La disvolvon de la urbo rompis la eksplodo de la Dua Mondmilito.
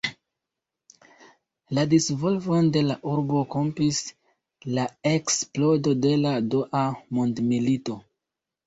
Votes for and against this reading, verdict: 3, 4, rejected